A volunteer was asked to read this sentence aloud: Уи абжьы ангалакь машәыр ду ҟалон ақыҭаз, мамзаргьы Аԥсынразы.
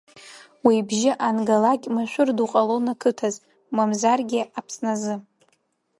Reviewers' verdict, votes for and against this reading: rejected, 0, 2